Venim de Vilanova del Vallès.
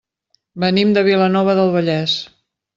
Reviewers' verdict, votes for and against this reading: accepted, 3, 0